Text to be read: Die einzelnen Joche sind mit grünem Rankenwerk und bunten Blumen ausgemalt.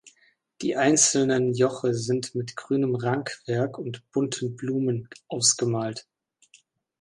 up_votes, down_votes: 1, 2